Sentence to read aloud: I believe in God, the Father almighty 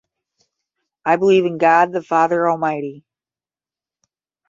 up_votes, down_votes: 5, 0